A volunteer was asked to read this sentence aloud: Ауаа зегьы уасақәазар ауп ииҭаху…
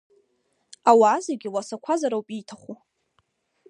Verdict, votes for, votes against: accepted, 2, 0